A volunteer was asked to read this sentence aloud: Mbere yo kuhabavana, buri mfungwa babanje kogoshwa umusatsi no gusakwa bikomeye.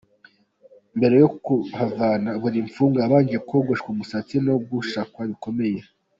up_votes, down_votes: 1, 2